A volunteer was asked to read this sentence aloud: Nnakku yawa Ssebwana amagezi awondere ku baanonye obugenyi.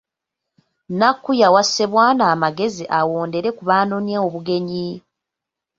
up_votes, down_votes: 2, 0